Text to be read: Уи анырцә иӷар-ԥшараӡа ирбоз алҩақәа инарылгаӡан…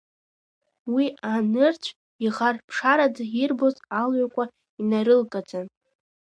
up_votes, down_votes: 1, 2